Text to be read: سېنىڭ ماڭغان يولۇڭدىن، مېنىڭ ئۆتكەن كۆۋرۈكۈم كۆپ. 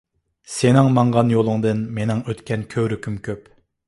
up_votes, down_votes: 2, 0